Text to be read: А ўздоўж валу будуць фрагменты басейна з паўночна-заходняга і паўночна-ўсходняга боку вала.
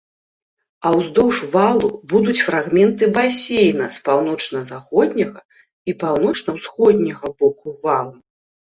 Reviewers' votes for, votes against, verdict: 2, 0, accepted